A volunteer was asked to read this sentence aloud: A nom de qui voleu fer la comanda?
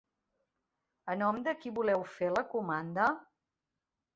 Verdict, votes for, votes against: accepted, 3, 0